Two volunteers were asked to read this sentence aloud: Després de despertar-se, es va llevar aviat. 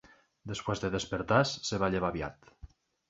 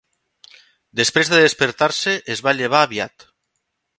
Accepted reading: second